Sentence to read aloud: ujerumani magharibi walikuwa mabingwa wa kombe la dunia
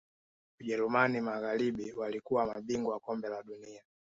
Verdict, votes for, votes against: accepted, 2, 0